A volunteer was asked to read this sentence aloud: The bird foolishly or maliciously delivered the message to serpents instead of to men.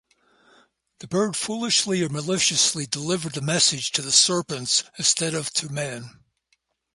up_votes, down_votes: 2, 0